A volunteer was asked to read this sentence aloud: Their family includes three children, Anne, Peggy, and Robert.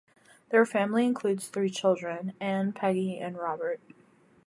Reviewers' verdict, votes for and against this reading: accepted, 2, 0